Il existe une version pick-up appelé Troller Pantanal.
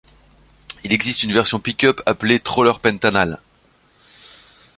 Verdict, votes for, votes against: accepted, 2, 0